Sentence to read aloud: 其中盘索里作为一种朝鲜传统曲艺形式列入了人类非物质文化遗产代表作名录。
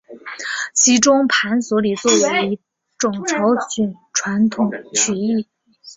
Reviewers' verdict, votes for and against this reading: rejected, 0, 2